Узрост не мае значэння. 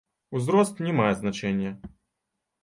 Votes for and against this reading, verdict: 1, 2, rejected